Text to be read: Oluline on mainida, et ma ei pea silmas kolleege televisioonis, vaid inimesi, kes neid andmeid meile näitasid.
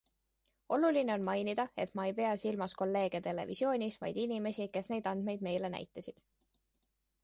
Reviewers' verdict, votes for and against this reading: accepted, 2, 0